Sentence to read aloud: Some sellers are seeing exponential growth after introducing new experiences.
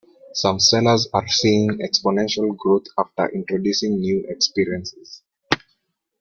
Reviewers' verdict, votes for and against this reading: rejected, 1, 2